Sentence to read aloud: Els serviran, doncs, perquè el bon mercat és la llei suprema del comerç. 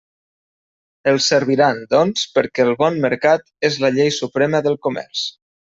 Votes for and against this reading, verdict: 2, 0, accepted